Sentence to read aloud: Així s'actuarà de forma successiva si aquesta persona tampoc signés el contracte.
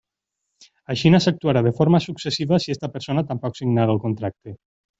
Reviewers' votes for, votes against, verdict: 0, 2, rejected